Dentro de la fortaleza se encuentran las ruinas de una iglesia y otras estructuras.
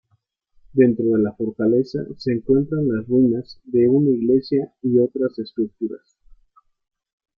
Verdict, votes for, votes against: rejected, 1, 2